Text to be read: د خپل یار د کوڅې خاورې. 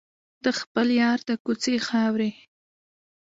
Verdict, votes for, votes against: accepted, 2, 1